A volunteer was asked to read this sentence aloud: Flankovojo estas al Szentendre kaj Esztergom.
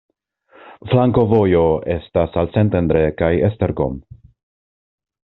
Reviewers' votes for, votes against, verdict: 2, 0, accepted